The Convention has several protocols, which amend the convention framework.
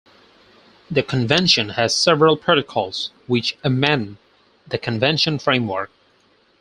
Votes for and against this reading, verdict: 4, 0, accepted